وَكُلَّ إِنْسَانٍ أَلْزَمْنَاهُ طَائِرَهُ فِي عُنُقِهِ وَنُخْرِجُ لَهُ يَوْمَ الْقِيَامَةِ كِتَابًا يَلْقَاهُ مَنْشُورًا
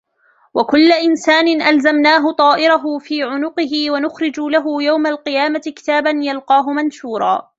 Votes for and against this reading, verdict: 2, 0, accepted